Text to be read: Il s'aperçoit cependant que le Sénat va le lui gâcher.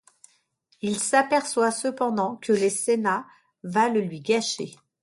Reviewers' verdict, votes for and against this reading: rejected, 0, 2